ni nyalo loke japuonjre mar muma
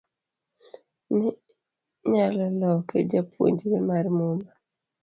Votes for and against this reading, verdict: 1, 2, rejected